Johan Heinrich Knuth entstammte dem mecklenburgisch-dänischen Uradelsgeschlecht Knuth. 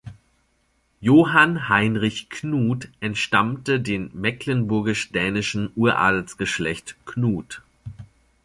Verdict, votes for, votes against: rejected, 1, 2